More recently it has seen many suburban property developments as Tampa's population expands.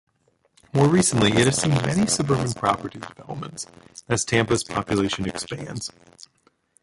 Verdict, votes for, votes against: rejected, 1, 2